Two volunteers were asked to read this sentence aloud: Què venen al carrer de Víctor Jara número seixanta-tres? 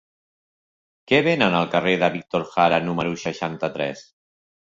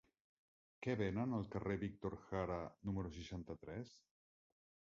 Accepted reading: first